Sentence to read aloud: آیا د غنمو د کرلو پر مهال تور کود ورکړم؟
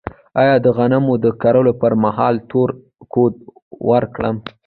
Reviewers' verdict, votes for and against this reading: rejected, 0, 2